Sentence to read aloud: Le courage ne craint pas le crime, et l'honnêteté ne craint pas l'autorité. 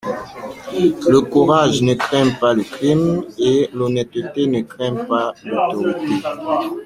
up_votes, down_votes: 0, 2